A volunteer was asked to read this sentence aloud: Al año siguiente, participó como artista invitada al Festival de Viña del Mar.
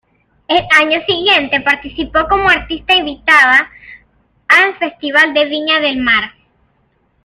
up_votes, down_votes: 0, 2